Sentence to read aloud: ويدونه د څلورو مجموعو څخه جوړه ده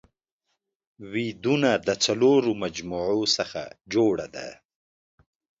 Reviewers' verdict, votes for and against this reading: accepted, 2, 0